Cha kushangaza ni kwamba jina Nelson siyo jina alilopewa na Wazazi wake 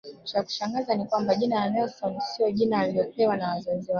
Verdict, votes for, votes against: rejected, 1, 2